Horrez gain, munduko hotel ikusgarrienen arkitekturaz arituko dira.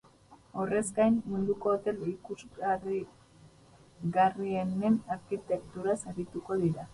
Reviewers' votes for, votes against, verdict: 0, 2, rejected